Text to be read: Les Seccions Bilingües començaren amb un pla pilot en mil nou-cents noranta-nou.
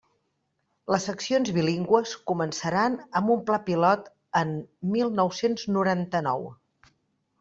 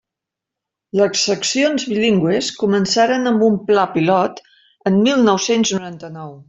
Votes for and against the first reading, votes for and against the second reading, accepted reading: 1, 2, 2, 0, second